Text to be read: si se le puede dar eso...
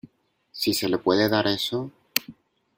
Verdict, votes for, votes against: accepted, 2, 0